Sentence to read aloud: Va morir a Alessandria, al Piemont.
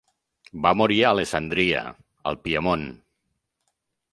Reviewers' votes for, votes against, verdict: 2, 0, accepted